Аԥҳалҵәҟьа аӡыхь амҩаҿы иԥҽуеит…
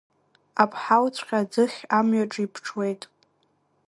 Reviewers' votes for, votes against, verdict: 2, 0, accepted